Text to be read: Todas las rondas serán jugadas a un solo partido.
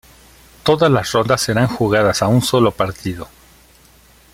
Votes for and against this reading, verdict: 2, 1, accepted